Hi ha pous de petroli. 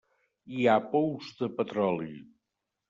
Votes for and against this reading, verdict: 3, 0, accepted